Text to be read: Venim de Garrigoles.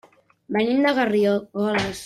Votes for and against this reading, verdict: 0, 2, rejected